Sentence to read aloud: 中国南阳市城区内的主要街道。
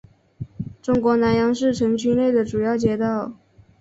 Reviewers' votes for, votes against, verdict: 3, 0, accepted